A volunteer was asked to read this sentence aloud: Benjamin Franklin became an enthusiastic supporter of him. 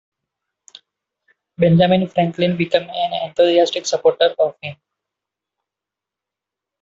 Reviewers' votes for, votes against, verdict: 0, 2, rejected